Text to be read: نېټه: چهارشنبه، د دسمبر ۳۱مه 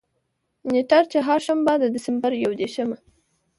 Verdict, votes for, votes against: rejected, 0, 2